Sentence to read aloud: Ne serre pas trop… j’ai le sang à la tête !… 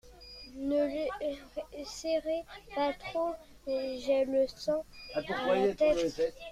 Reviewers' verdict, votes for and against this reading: rejected, 1, 2